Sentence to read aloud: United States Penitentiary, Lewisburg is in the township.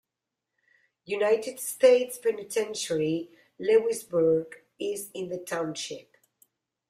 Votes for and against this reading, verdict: 2, 0, accepted